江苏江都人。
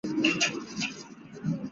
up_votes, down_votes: 1, 2